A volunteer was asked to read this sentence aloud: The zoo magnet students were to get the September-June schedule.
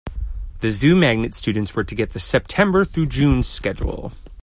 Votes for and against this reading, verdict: 1, 2, rejected